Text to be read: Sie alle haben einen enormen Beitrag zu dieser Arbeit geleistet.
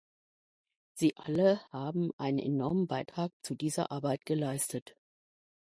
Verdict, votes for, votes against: accepted, 2, 0